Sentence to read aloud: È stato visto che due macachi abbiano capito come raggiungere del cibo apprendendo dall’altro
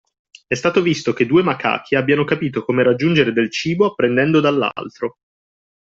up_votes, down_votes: 2, 1